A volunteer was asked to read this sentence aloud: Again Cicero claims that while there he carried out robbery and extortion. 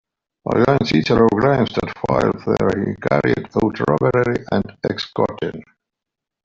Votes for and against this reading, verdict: 0, 2, rejected